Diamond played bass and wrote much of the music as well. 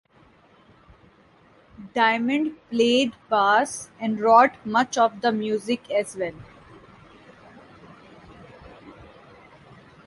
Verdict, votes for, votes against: rejected, 0, 2